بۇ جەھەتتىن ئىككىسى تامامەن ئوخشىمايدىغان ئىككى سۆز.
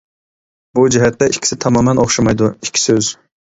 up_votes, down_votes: 0, 2